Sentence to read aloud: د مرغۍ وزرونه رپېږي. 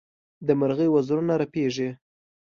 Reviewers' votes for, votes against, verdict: 2, 0, accepted